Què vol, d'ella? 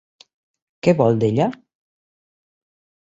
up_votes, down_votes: 3, 0